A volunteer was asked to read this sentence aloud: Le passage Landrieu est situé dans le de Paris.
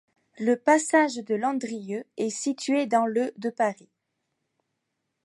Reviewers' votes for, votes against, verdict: 1, 2, rejected